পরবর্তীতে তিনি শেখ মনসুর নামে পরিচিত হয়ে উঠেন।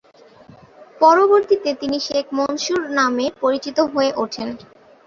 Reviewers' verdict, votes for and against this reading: accepted, 7, 0